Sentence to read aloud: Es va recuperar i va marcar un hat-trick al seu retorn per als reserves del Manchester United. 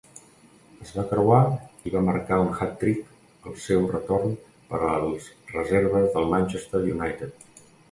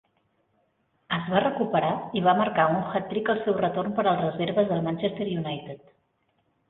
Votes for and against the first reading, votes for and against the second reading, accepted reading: 1, 2, 2, 0, second